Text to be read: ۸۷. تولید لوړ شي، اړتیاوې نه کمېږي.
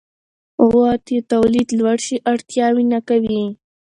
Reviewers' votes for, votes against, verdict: 0, 2, rejected